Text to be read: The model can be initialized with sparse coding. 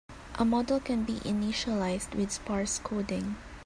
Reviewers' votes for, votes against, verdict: 3, 5, rejected